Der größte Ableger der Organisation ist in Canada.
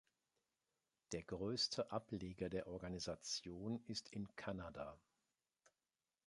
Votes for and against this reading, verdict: 2, 0, accepted